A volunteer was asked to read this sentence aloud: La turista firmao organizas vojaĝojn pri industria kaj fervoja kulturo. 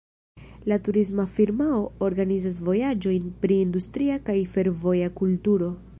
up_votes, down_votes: 1, 2